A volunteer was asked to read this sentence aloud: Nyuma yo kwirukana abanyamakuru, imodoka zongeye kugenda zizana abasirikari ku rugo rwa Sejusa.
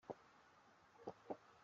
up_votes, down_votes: 0, 3